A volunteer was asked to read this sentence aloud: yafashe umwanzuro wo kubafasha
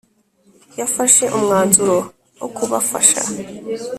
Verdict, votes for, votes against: accepted, 2, 0